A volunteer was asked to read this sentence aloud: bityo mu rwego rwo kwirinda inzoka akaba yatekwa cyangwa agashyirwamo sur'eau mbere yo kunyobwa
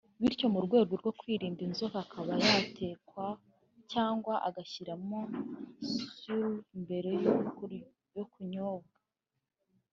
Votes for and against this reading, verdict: 2, 4, rejected